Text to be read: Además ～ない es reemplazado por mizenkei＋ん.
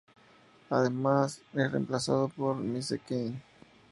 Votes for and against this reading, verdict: 0, 2, rejected